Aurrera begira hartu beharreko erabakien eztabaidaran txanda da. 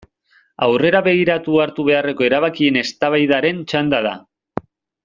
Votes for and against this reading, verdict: 0, 2, rejected